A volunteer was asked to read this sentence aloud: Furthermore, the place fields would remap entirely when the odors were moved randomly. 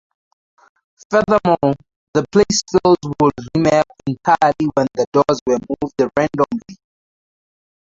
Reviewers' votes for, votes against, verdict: 2, 2, rejected